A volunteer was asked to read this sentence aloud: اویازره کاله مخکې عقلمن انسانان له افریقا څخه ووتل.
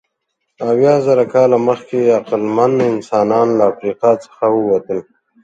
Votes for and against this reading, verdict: 2, 0, accepted